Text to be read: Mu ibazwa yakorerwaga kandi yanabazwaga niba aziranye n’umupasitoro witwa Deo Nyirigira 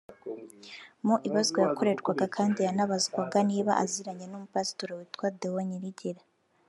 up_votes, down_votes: 1, 2